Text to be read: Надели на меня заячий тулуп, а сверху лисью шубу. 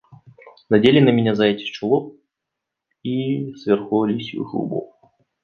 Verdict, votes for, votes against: rejected, 0, 2